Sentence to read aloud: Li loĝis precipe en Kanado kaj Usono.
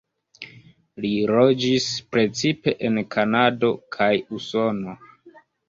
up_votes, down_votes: 0, 2